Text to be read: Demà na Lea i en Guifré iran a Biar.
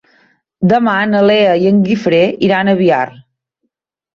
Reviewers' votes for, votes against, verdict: 3, 0, accepted